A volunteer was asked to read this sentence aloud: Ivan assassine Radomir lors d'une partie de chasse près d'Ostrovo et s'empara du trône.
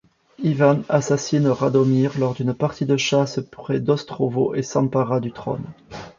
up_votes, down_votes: 1, 2